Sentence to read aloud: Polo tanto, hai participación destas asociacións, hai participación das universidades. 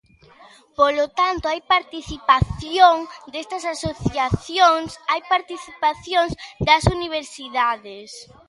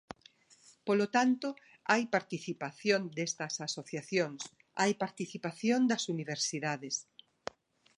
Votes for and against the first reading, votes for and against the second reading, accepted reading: 1, 2, 2, 0, second